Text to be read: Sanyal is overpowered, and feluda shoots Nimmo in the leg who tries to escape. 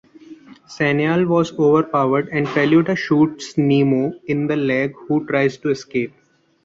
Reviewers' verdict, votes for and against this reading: rejected, 0, 2